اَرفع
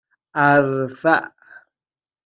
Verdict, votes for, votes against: accepted, 2, 0